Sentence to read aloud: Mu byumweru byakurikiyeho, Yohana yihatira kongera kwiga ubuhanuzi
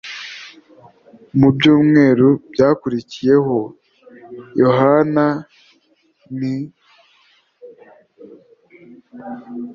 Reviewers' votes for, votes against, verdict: 1, 2, rejected